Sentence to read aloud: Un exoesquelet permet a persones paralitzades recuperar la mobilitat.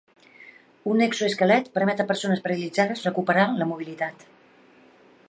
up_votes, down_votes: 1, 2